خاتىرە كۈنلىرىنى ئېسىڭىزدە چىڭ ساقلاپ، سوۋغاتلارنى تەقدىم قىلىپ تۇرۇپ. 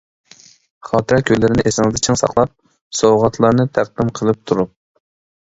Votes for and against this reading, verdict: 1, 2, rejected